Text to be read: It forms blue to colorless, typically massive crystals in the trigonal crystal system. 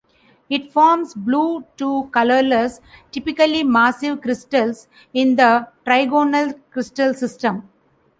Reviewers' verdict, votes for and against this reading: rejected, 1, 2